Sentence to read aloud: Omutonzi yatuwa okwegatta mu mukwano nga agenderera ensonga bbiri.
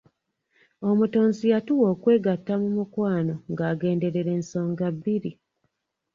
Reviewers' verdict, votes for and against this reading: accepted, 2, 0